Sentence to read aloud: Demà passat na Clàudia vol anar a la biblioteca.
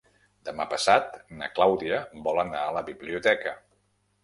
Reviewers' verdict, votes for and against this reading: accepted, 2, 0